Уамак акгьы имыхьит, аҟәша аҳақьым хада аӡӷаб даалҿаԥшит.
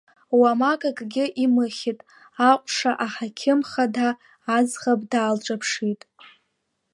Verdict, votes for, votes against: accepted, 2, 1